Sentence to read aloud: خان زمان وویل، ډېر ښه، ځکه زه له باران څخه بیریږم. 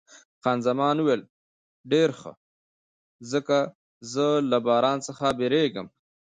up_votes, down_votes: 1, 2